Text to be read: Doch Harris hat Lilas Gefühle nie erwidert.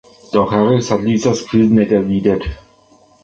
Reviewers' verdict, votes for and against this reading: rejected, 0, 2